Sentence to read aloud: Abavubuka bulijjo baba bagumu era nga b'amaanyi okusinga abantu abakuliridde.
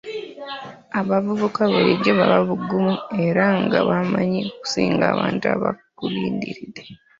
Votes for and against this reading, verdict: 0, 2, rejected